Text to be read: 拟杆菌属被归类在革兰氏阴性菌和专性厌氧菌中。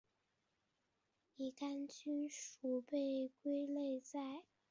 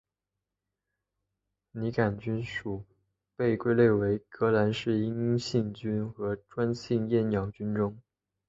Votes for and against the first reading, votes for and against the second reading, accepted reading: 0, 4, 2, 1, second